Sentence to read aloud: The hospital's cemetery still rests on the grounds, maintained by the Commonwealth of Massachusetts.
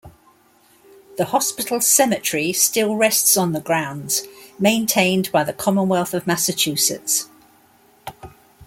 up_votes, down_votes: 2, 0